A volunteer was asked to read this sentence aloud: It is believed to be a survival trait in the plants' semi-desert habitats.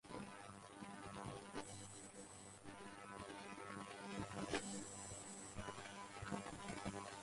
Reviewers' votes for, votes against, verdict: 0, 2, rejected